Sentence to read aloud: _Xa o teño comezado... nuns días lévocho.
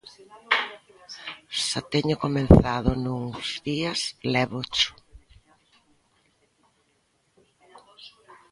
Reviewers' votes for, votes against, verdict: 0, 2, rejected